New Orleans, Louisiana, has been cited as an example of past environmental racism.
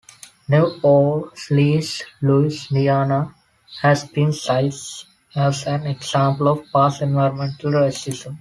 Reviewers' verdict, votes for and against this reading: rejected, 1, 2